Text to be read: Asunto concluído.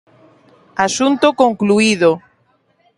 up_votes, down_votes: 2, 0